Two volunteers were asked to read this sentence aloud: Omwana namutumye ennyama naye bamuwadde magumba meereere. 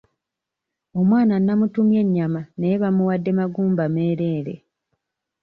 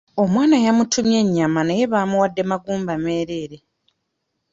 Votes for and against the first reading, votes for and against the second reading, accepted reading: 2, 1, 1, 2, first